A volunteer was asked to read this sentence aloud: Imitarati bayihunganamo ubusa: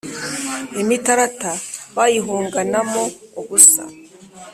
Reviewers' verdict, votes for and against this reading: accepted, 2, 1